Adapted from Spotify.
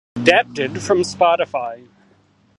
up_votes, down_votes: 0, 2